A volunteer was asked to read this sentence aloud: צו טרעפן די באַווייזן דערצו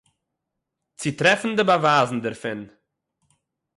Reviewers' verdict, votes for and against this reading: rejected, 0, 9